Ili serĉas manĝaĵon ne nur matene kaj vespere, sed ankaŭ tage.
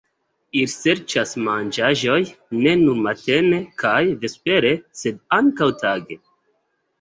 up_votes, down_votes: 2, 0